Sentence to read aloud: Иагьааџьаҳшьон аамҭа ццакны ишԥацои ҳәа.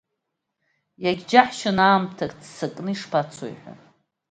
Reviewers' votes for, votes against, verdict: 2, 0, accepted